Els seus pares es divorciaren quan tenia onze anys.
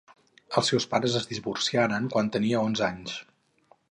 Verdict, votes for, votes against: rejected, 0, 2